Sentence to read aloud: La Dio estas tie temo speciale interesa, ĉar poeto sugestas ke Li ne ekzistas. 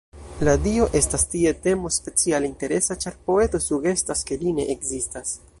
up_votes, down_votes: 1, 2